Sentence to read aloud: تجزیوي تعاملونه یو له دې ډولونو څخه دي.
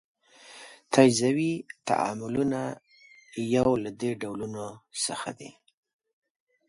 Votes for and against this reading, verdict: 3, 0, accepted